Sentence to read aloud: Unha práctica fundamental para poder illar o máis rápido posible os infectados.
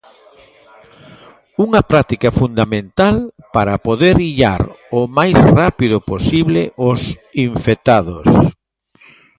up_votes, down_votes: 2, 0